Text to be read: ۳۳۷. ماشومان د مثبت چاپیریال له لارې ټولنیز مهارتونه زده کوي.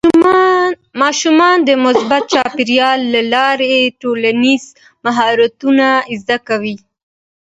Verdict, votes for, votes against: rejected, 0, 2